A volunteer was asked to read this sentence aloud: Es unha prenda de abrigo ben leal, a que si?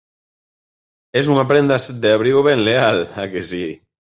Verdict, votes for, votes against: rejected, 2, 3